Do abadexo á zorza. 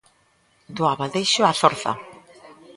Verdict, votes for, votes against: accepted, 2, 0